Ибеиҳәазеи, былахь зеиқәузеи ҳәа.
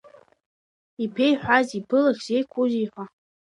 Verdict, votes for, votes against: rejected, 1, 2